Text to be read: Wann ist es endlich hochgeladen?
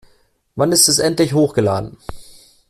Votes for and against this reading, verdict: 2, 0, accepted